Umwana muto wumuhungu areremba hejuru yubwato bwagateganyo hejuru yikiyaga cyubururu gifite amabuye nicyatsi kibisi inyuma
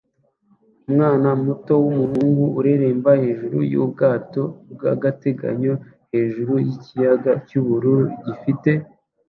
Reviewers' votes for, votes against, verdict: 0, 2, rejected